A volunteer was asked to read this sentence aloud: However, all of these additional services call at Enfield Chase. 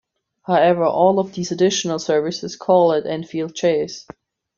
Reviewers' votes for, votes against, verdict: 2, 0, accepted